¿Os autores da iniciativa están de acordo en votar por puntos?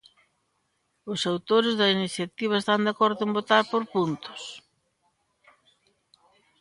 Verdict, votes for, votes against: accepted, 2, 0